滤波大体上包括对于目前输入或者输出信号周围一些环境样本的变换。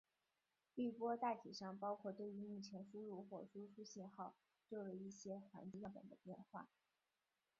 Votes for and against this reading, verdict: 1, 2, rejected